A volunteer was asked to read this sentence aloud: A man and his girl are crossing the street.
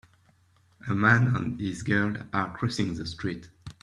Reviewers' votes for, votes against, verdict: 2, 0, accepted